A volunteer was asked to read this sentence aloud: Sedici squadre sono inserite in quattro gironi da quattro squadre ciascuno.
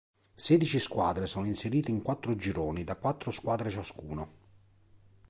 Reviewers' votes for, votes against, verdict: 2, 0, accepted